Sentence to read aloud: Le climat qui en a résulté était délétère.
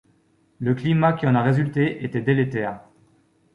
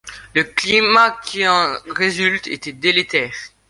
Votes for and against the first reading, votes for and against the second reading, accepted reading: 2, 0, 1, 2, first